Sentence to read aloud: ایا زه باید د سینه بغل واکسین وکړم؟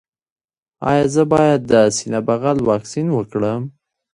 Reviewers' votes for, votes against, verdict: 2, 0, accepted